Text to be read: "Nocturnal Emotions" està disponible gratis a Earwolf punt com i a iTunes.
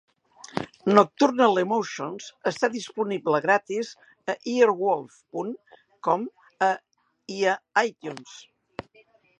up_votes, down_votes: 1, 2